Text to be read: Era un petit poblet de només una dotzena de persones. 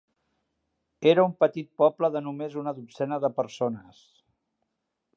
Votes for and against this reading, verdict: 0, 2, rejected